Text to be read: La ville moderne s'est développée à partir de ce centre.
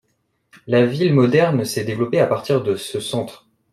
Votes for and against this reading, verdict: 2, 0, accepted